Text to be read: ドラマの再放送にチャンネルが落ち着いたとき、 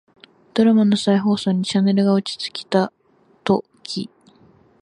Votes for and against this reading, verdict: 0, 3, rejected